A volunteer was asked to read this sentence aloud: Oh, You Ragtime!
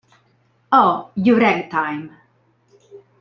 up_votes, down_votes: 0, 2